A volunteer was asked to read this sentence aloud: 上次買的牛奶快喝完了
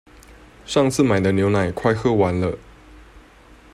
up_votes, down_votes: 2, 0